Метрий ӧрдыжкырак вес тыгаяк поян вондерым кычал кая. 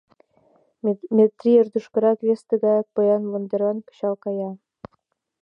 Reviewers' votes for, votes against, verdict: 1, 2, rejected